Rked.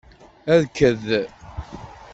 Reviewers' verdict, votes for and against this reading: accepted, 2, 0